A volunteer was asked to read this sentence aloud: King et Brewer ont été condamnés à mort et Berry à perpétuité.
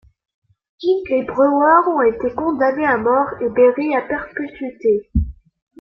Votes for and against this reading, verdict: 2, 0, accepted